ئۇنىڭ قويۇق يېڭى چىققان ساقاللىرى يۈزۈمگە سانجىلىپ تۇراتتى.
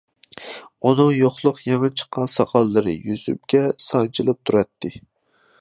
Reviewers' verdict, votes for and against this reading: rejected, 0, 2